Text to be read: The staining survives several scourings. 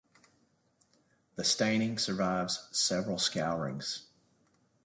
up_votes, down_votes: 2, 0